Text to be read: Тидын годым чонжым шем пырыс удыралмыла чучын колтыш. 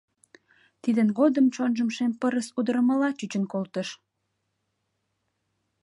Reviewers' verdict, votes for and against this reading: rejected, 0, 2